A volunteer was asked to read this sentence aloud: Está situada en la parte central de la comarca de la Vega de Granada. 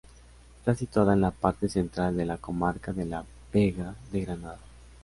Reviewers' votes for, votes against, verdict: 2, 0, accepted